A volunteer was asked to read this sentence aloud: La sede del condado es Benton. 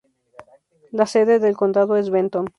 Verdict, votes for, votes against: accepted, 2, 0